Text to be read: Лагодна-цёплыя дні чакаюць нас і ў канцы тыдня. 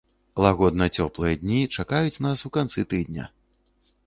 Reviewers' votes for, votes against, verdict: 1, 2, rejected